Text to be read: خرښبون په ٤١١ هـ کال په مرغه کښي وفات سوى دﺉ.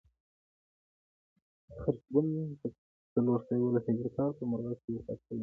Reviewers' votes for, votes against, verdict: 0, 2, rejected